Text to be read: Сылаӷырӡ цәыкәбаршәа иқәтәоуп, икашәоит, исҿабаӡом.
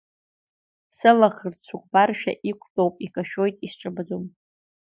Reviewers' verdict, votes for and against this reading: accepted, 2, 0